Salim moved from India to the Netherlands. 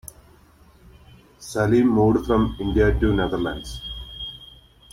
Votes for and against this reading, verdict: 0, 2, rejected